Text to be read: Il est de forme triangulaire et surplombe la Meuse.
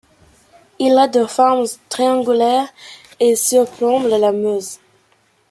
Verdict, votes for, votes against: accepted, 2, 1